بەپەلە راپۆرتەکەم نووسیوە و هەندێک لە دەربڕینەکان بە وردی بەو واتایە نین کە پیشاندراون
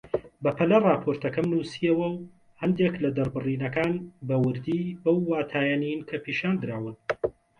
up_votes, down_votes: 0, 2